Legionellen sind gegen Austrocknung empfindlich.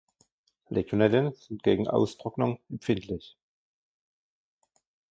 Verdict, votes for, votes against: accepted, 2, 1